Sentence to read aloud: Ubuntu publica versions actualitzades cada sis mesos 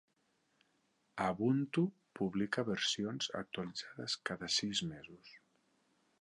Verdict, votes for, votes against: rejected, 1, 2